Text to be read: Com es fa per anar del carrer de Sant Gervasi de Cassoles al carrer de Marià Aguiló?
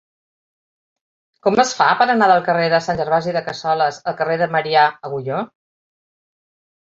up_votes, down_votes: 0, 3